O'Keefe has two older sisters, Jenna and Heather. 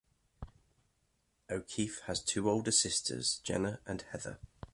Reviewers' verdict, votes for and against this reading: accepted, 2, 1